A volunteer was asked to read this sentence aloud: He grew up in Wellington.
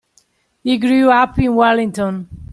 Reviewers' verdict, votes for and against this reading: accepted, 2, 0